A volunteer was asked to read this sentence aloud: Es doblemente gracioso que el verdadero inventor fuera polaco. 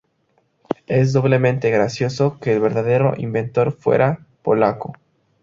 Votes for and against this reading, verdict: 2, 0, accepted